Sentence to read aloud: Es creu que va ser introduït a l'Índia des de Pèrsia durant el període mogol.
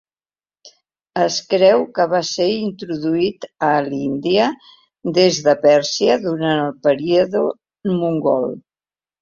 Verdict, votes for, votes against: rejected, 0, 2